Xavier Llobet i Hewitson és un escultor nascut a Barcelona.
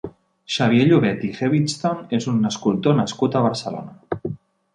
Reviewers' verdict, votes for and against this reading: accepted, 5, 0